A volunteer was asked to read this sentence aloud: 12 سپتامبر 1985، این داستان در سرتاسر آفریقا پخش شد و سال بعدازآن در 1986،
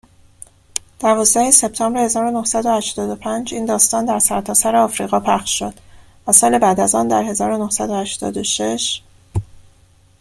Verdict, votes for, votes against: rejected, 0, 2